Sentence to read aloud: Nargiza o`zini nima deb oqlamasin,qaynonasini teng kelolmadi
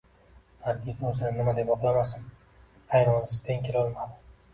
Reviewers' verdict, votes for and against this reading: accepted, 2, 1